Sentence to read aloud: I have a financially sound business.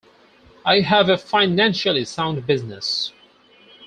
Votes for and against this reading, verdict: 4, 0, accepted